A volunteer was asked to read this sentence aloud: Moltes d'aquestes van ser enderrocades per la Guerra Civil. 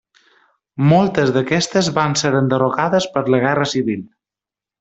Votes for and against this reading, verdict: 3, 0, accepted